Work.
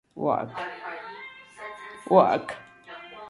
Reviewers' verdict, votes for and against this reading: rejected, 1, 2